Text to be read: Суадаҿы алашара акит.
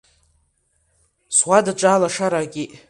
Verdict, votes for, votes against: accepted, 2, 0